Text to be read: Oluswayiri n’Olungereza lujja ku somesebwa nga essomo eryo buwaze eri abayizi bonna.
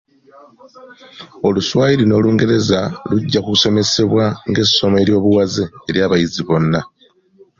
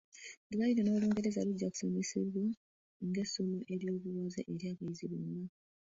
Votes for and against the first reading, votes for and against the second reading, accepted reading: 2, 0, 0, 2, first